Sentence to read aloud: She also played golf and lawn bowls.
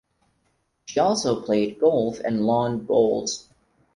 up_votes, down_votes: 4, 0